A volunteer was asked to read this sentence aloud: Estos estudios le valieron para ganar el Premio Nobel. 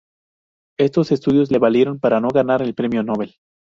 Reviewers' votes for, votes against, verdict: 0, 4, rejected